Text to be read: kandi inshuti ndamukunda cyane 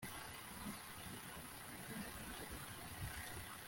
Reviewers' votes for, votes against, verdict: 1, 2, rejected